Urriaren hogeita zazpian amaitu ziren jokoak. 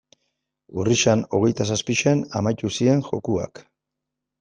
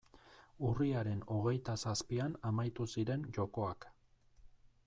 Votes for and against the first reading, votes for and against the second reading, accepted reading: 1, 2, 2, 0, second